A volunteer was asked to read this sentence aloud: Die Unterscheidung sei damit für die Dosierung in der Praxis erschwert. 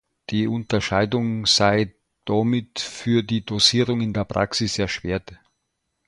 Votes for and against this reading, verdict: 0, 2, rejected